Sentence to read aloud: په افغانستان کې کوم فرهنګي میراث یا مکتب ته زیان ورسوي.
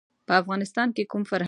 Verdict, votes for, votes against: rejected, 1, 2